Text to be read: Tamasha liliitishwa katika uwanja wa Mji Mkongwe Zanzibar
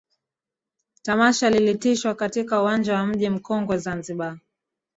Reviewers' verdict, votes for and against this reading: rejected, 1, 2